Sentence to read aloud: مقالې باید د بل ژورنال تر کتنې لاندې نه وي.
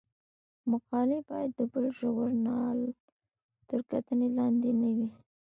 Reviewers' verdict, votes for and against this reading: accepted, 2, 0